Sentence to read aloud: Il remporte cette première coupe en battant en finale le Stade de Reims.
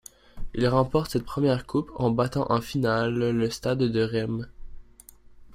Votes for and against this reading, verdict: 0, 2, rejected